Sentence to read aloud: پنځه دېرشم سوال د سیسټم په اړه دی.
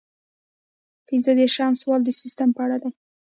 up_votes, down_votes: 0, 2